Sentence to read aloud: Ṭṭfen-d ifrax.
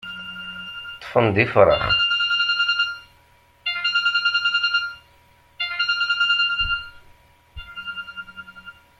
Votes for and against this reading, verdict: 0, 2, rejected